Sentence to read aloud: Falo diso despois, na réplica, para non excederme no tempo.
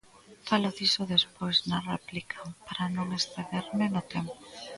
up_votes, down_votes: 2, 0